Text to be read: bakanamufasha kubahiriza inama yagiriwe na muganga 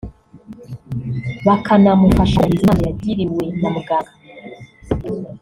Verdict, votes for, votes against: rejected, 0, 2